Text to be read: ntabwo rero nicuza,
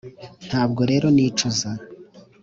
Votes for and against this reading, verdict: 3, 0, accepted